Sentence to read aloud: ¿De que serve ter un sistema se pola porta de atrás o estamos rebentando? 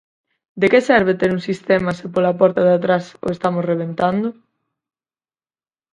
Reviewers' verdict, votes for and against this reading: accepted, 4, 0